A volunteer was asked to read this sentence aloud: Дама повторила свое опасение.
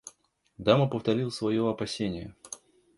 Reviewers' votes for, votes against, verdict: 3, 0, accepted